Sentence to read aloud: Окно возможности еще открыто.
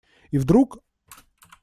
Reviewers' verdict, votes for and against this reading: rejected, 0, 2